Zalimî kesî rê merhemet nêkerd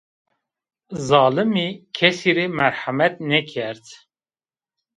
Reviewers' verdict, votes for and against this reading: rejected, 1, 2